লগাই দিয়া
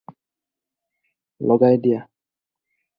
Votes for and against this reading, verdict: 4, 0, accepted